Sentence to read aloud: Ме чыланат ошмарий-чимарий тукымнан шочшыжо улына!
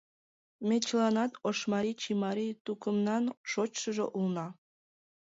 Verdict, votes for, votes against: rejected, 1, 2